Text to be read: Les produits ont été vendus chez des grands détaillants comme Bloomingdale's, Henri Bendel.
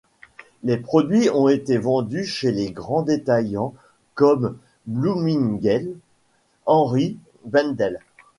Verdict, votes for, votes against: rejected, 1, 2